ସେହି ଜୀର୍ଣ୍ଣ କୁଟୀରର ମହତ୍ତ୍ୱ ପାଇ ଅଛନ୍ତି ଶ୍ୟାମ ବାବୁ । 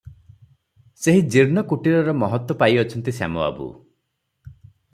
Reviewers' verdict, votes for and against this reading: accepted, 3, 0